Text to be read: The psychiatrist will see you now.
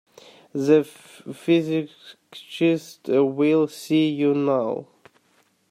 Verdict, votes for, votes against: rejected, 0, 2